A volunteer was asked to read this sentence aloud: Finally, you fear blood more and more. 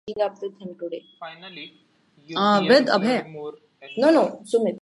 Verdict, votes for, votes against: rejected, 0, 2